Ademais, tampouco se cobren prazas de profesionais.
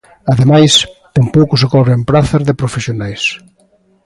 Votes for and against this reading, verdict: 2, 0, accepted